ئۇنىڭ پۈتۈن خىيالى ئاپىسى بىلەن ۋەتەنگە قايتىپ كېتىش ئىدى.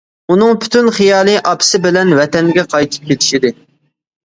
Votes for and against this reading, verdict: 2, 0, accepted